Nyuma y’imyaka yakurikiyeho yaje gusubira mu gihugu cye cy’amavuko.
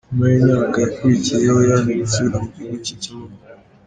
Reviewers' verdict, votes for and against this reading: rejected, 1, 2